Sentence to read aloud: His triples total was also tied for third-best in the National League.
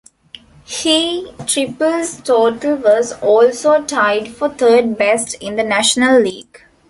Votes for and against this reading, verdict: 0, 2, rejected